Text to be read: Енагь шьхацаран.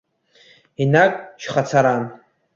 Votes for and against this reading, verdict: 2, 0, accepted